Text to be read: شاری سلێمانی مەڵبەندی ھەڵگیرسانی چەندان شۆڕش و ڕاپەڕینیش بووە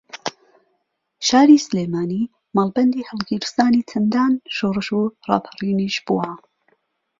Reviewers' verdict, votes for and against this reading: accepted, 2, 0